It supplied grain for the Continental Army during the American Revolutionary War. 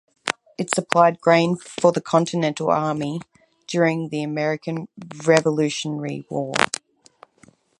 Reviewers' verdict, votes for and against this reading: accepted, 4, 0